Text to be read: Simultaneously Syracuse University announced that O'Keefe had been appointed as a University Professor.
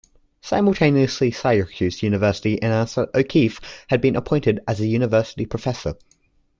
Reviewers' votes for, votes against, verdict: 2, 0, accepted